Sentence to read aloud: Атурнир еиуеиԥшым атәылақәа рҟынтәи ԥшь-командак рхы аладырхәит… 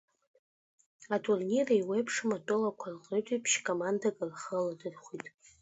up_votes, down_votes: 1, 2